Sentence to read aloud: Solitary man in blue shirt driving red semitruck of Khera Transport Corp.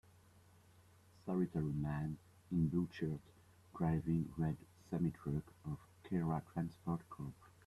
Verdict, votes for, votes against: accepted, 2, 0